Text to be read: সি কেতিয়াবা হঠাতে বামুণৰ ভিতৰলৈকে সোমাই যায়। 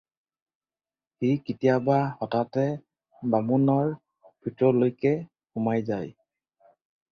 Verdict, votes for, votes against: accepted, 4, 0